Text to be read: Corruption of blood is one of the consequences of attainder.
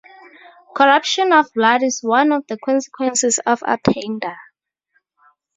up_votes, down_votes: 4, 0